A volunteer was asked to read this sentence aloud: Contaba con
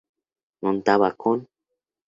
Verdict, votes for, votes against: accepted, 2, 0